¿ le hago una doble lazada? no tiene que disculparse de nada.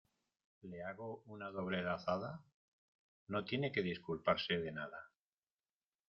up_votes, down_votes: 1, 2